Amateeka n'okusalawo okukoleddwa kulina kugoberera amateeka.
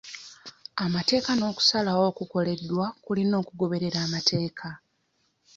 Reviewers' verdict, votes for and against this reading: rejected, 0, 2